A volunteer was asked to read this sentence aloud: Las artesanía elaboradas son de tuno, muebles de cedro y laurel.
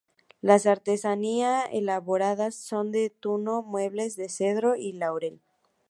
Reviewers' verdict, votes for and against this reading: accepted, 2, 0